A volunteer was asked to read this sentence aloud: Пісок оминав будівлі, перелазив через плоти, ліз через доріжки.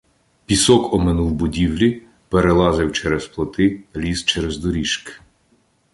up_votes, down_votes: 1, 2